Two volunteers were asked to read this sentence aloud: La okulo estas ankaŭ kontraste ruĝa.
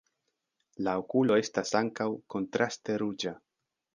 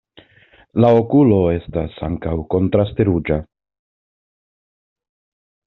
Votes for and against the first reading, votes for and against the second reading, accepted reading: 1, 2, 2, 0, second